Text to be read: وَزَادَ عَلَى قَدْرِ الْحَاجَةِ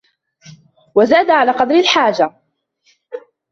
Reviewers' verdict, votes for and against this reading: rejected, 1, 2